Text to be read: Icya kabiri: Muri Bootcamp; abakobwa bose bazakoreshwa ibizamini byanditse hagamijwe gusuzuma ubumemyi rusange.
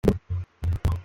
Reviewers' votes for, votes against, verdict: 0, 2, rejected